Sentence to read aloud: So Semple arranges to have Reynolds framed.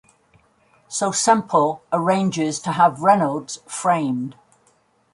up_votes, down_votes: 2, 0